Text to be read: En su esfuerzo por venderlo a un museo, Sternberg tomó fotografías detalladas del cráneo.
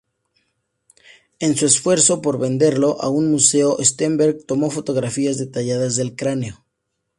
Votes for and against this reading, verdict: 4, 0, accepted